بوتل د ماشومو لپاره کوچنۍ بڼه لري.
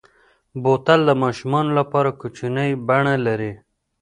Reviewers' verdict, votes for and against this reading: accepted, 2, 0